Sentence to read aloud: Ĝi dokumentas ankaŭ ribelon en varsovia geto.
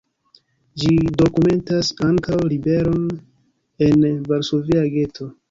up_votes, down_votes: 1, 2